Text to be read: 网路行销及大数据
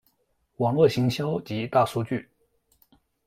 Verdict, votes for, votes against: rejected, 1, 2